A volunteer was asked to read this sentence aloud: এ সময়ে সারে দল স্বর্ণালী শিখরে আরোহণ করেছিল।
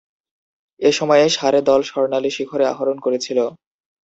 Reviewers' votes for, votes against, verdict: 6, 0, accepted